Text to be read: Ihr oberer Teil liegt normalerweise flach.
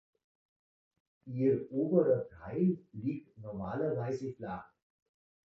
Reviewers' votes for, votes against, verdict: 1, 2, rejected